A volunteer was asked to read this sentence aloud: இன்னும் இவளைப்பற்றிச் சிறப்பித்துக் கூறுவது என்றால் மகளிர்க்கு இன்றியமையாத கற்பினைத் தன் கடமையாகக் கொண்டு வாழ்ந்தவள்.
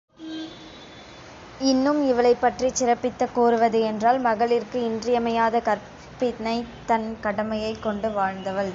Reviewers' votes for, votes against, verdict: 1, 2, rejected